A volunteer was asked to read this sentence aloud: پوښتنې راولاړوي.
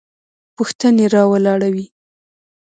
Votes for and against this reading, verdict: 0, 2, rejected